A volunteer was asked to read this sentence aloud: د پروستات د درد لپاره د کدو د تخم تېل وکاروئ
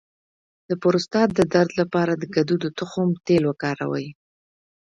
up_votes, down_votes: 3, 1